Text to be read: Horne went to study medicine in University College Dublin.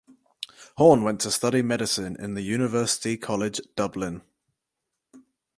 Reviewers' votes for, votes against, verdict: 0, 4, rejected